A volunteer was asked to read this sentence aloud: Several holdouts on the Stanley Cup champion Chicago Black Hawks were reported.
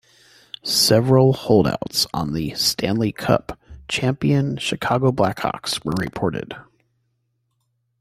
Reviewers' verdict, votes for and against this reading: accepted, 2, 1